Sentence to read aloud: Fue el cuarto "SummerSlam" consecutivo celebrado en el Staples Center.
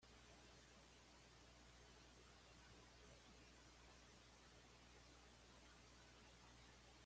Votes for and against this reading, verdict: 0, 2, rejected